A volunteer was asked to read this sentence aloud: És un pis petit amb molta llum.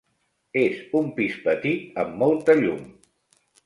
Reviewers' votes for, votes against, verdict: 3, 0, accepted